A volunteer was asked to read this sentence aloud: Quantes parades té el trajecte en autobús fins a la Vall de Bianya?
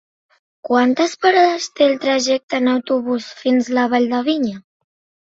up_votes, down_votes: 0, 3